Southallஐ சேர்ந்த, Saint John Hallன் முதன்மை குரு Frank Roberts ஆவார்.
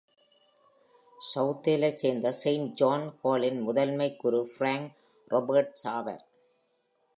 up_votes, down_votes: 2, 0